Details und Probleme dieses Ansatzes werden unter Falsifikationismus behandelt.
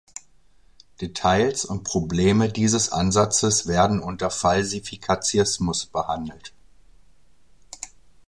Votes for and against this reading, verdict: 0, 3, rejected